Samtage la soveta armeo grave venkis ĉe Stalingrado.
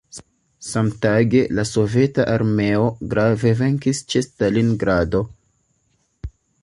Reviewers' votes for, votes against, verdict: 1, 2, rejected